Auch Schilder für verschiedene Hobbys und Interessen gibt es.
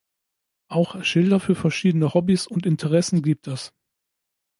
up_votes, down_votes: 2, 0